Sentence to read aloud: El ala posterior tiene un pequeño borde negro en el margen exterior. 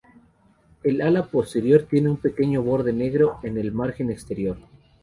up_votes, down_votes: 2, 0